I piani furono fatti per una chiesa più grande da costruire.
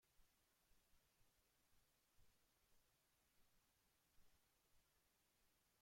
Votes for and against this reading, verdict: 0, 2, rejected